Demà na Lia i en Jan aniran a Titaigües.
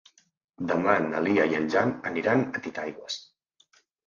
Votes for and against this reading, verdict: 3, 0, accepted